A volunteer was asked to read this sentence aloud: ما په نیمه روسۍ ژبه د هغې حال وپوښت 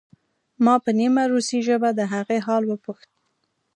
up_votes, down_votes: 3, 0